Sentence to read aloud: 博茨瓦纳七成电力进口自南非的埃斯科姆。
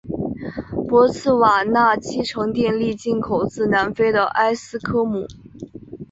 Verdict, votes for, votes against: accepted, 3, 0